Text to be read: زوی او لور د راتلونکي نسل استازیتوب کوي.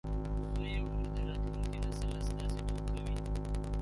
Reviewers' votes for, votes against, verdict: 0, 2, rejected